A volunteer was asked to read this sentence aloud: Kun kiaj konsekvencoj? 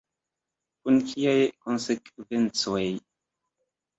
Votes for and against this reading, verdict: 2, 0, accepted